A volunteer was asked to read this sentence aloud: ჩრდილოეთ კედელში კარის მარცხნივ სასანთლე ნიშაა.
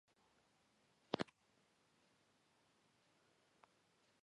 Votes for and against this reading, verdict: 1, 2, rejected